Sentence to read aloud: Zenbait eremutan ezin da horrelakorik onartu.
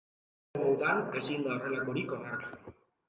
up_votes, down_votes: 0, 3